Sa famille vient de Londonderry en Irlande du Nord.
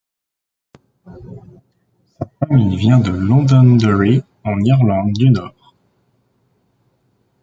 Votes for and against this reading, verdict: 1, 2, rejected